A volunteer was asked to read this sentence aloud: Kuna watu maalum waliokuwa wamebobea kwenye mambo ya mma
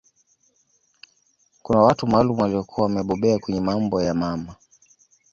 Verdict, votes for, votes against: accepted, 2, 0